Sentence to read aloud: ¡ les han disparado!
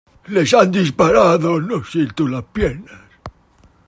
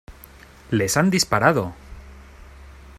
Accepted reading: second